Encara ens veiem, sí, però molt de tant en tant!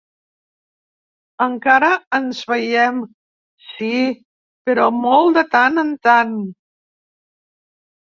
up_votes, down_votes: 3, 0